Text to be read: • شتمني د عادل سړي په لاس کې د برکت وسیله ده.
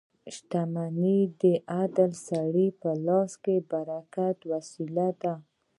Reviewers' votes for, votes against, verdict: 2, 0, accepted